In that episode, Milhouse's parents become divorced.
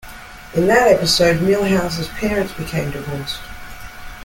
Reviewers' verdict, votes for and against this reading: rejected, 1, 2